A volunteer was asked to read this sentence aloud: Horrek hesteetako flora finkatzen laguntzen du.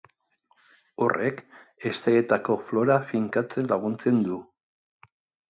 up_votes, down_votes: 2, 0